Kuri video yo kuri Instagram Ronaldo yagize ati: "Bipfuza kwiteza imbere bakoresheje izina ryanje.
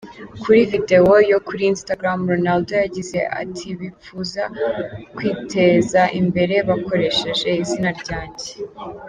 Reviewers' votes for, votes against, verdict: 2, 0, accepted